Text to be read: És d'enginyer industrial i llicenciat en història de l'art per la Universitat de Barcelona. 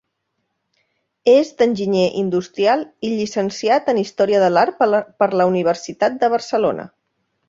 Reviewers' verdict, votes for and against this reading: rejected, 1, 2